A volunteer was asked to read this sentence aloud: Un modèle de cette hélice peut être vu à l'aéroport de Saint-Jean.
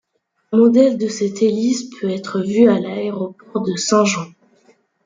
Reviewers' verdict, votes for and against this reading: accepted, 2, 1